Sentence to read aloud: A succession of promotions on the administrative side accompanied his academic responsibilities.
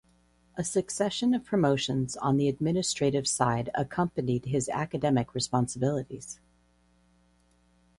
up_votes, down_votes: 2, 2